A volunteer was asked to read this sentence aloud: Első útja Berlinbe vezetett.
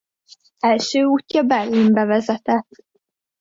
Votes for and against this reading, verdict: 2, 0, accepted